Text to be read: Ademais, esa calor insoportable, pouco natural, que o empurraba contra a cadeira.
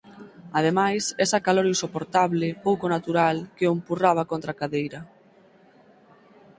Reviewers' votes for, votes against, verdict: 4, 0, accepted